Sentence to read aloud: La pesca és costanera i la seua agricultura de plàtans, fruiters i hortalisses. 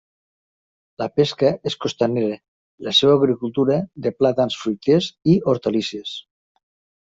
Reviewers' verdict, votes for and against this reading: accepted, 2, 0